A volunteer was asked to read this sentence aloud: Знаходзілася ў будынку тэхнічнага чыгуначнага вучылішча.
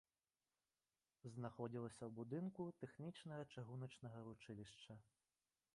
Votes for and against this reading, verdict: 4, 1, accepted